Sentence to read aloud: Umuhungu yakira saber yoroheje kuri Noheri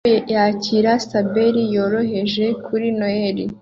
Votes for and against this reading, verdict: 2, 0, accepted